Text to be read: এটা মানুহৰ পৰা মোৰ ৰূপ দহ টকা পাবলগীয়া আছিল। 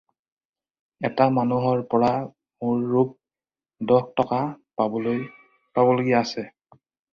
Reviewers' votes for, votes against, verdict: 0, 4, rejected